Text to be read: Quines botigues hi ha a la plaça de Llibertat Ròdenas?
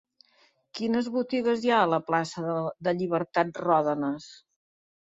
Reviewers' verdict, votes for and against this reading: rejected, 0, 3